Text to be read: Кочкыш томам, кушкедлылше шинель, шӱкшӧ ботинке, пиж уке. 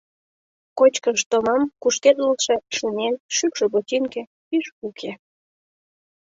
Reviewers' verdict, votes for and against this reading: accepted, 2, 0